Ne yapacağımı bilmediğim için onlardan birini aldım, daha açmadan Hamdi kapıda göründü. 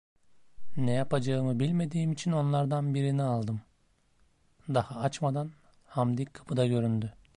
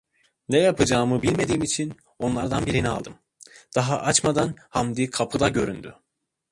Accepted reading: first